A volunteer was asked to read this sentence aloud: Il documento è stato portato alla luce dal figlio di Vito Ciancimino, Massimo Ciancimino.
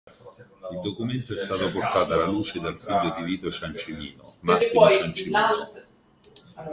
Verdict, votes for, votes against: accepted, 2, 1